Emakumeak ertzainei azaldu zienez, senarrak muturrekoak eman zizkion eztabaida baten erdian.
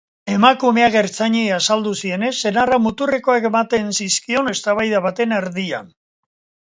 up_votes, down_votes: 0, 2